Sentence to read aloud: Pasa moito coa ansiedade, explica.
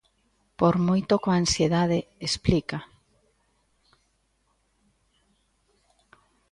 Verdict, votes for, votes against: rejected, 0, 2